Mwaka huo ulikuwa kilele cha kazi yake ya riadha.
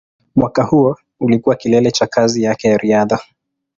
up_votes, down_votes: 4, 0